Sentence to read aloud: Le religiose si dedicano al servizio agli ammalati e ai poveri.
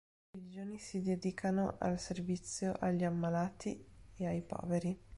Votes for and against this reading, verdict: 0, 2, rejected